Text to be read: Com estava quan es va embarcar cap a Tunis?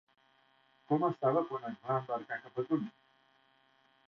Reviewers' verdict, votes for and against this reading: rejected, 1, 2